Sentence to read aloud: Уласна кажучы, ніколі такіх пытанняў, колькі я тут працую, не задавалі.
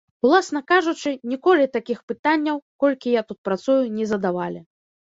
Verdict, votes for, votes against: accepted, 2, 0